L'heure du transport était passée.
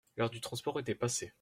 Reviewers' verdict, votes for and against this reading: accepted, 2, 0